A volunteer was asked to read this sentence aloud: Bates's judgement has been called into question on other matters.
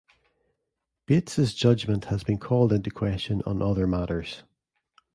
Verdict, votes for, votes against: accepted, 2, 0